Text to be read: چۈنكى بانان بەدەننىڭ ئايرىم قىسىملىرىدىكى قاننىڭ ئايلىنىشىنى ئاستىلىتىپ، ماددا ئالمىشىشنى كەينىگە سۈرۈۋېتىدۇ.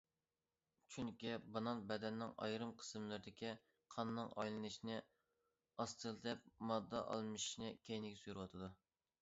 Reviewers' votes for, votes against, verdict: 1, 2, rejected